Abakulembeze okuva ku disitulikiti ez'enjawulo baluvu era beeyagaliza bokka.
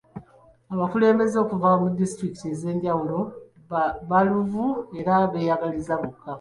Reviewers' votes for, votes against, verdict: 2, 0, accepted